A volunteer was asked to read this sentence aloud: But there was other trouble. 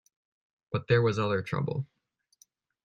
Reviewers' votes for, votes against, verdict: 2, 0, accepted